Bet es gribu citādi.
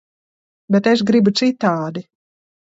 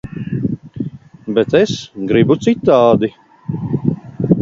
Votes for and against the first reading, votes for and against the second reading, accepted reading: 2, 0, 0, 2, first